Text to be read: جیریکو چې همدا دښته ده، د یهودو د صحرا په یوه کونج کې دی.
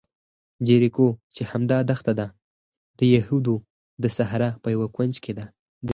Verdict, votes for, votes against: accepted, 4, 0